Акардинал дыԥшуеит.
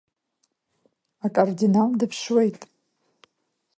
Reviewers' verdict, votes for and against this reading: accepted, 2, 0